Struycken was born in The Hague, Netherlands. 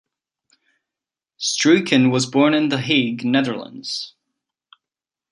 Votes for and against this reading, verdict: 2, 0, accepted